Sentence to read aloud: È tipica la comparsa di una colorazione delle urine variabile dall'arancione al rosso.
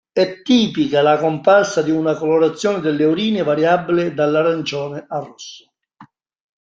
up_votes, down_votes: 1, 2